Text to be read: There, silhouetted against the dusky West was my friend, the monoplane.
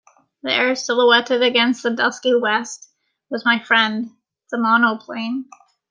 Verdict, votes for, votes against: accepted, 2, 0